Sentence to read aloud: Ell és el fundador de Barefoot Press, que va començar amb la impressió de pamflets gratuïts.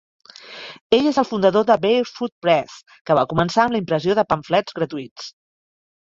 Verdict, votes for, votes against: accepted, 2, 0